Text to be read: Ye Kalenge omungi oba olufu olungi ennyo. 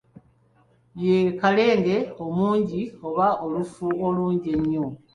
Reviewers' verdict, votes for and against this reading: accepted, 2, 0